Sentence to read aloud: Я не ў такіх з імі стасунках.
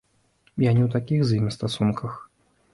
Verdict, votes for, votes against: accepted, 2, 0